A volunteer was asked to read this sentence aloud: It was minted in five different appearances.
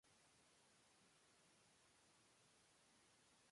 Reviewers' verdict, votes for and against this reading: rejected, 0, 2